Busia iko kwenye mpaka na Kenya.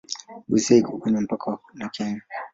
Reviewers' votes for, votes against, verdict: 2, 1, accepted